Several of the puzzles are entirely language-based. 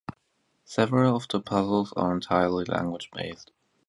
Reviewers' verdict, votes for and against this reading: accepted, 2, 0